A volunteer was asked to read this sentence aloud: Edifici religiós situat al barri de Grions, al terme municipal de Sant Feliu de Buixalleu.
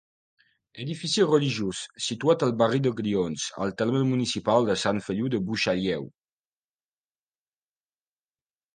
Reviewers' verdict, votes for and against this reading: accepted, 2, 0